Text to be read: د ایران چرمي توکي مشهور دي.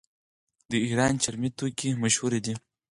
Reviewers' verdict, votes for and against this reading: accepted, 4, 0